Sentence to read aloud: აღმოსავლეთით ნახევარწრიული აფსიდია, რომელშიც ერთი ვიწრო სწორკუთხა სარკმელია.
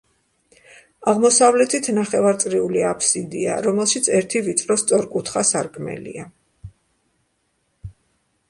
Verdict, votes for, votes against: accepted, 2, 0